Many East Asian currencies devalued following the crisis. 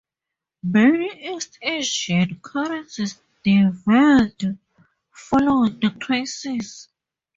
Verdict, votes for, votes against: accepted, 4, 0